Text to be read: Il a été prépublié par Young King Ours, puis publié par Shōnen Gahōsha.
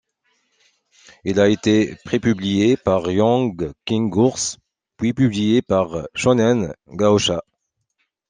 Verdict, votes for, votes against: accepted, 2, 0